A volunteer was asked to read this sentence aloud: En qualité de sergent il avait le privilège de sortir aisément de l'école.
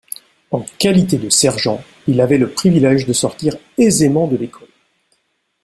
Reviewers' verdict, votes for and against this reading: accepted, 2, 0